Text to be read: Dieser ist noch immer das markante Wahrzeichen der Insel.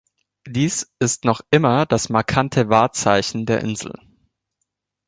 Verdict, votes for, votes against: rejected, 0, 2